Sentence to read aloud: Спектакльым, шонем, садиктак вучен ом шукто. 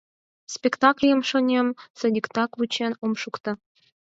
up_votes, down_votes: 2, 4